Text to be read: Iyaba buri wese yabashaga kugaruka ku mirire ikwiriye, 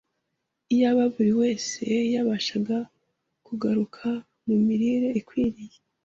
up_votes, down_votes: 2, 0